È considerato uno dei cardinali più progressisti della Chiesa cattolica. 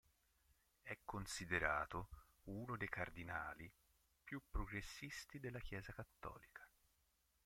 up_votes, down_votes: 2, 1